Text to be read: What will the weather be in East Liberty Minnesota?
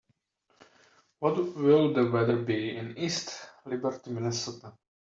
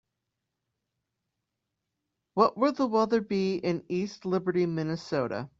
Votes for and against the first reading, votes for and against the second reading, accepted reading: 1, 2, 2, 0, second